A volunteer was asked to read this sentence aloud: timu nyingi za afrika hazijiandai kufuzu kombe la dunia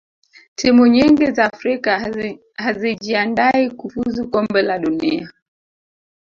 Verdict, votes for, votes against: rejected, 1, 2